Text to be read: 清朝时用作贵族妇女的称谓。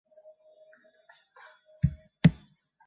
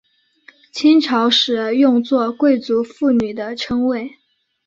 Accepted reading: second